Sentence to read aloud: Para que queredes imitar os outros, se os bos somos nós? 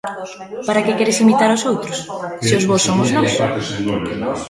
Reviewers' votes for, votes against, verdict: 2, 1, accepted